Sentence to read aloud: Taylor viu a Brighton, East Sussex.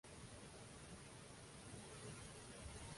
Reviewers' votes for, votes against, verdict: 0, 2, rejected